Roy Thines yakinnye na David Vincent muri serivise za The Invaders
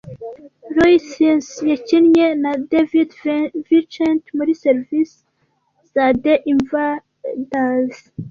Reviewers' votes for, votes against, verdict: 2, 0, accepted